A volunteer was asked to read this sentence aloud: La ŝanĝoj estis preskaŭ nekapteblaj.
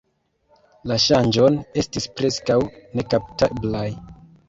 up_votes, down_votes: 1, 3